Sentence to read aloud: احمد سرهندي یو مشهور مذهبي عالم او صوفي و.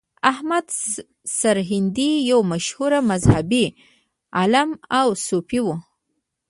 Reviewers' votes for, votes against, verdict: 1, 2, rejected